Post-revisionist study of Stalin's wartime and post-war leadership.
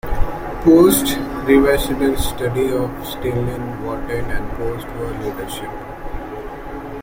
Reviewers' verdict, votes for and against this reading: rejected, 1, 2